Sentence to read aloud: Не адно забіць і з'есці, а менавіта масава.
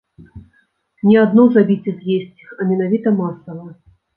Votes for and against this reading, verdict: 1, 2, rejected